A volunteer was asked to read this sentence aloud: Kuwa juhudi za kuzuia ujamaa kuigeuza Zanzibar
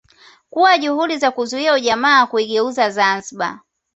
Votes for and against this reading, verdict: 2, 0, accepted